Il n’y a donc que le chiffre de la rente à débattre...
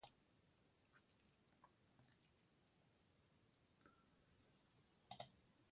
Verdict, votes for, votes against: rejected, 0, 2